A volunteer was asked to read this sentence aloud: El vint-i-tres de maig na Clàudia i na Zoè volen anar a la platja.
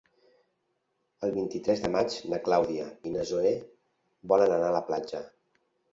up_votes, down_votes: 3, 0